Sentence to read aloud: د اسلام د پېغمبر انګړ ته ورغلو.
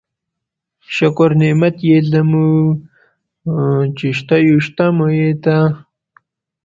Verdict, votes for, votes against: rejected, 1, 2